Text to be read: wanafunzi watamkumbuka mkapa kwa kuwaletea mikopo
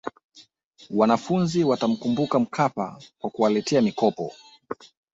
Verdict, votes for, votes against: accepted, 2, 1